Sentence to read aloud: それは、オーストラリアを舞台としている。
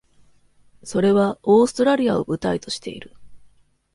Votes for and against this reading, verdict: 2, 0, accepted